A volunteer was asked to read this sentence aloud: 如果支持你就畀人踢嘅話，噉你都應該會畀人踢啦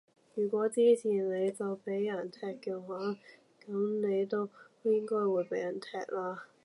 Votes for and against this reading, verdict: 2, 0, accepted